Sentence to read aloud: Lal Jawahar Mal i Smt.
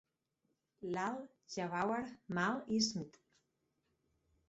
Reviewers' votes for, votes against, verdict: 2, 4, rejected